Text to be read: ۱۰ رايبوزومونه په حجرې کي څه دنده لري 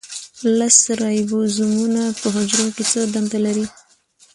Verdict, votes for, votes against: rejected, 0, 2